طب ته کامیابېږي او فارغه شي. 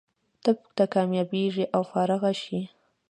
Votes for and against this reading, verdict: 0, 2, rejected